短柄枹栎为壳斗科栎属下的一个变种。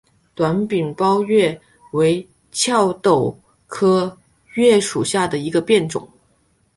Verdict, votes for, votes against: rejected, 1, 3